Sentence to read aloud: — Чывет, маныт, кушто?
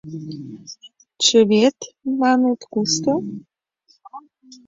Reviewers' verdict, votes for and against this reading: accepted, 2, 0